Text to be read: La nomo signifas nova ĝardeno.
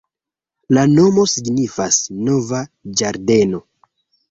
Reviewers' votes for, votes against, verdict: 2, 0, accepted